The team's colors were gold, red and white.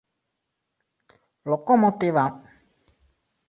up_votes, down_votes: 0, 2